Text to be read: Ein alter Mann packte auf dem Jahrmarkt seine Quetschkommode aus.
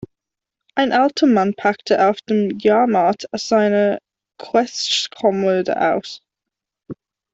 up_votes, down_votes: 0, 2